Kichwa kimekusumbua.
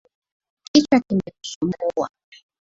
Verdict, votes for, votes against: accepted, 2, 1